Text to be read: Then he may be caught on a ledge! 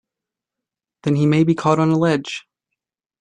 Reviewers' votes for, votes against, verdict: 2, 0, accepted